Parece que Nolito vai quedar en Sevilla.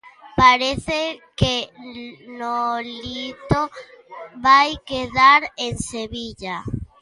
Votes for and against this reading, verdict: 1, 2, rejected